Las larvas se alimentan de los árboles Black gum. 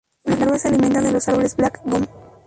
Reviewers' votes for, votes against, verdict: 0, 4, rejected